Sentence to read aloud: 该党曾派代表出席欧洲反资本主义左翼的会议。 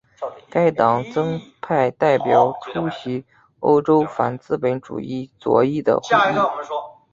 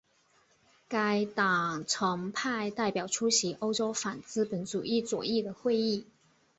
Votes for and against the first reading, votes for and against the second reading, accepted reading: 0, 3, 3, 1, second